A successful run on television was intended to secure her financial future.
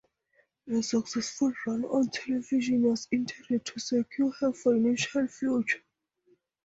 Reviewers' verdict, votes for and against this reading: accepted, 2, 0